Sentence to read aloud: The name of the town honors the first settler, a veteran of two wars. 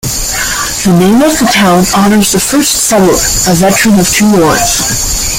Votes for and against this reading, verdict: 2, 1, accepted